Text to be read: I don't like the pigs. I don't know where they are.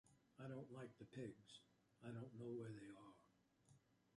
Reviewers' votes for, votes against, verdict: 2, 1, accepted